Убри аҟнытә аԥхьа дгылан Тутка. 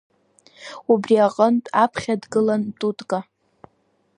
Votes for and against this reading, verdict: 3, 2, accepted